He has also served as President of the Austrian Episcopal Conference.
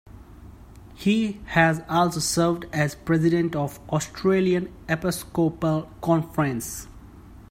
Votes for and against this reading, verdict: 0, 2, rejected